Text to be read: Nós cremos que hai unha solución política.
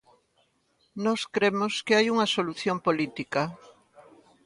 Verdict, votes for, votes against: rejected, 1, 2